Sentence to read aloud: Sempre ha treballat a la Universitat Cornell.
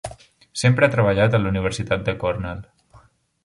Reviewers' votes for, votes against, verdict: 0, 2, rejected